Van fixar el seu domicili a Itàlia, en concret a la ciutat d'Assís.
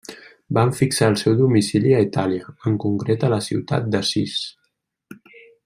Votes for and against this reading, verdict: 2, 0, accepted